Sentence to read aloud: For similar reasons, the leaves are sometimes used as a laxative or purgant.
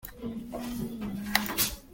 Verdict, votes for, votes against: rejected, 0, 2